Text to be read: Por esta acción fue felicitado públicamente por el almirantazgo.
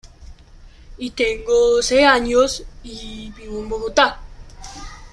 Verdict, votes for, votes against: rejected, 0, 2